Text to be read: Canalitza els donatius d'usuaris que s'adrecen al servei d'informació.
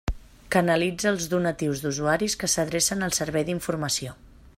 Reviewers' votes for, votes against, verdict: 3, 0, accepted